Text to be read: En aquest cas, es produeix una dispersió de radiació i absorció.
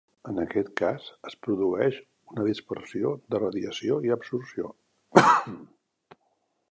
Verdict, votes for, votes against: rejected, 1, 2